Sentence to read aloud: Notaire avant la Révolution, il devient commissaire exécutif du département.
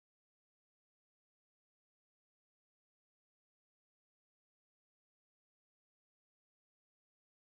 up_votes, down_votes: 0, 2